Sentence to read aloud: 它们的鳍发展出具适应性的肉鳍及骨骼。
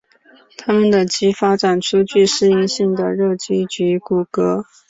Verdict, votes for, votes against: accepted, 2, 0